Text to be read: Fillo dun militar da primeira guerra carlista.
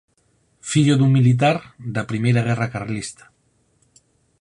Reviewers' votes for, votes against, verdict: 10, 0, accepted